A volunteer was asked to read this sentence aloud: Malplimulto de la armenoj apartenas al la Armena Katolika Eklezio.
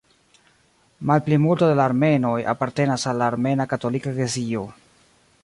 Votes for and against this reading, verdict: 1, 2, rejected